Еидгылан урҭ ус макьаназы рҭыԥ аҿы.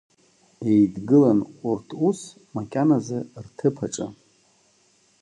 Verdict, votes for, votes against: accepted, 2, 0